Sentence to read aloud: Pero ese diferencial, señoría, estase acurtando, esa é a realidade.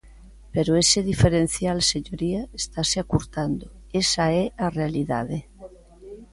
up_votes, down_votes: 2, 0